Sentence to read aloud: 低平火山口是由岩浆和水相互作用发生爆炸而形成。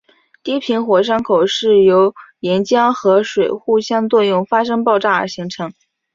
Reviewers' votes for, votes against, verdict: 8, 0, accepted